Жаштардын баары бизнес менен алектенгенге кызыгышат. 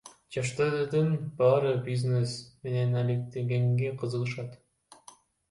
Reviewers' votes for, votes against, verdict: 1, 2, rejected